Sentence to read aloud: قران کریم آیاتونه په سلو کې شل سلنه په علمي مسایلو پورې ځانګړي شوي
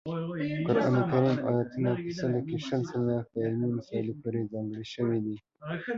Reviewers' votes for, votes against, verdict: 1, 5, rejected